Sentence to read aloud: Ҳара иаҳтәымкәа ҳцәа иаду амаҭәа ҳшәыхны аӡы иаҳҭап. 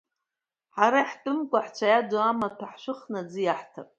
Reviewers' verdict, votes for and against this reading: rejected, 1, 2